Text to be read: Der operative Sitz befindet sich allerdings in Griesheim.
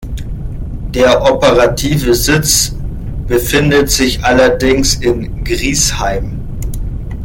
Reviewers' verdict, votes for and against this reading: accepted, 2, 0